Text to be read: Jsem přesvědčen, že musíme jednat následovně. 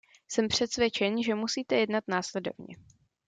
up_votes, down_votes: 1, 2